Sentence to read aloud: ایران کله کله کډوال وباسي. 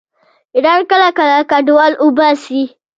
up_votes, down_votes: 1, 2